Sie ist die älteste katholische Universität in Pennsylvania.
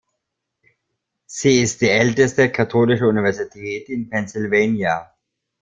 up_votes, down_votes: 2, 0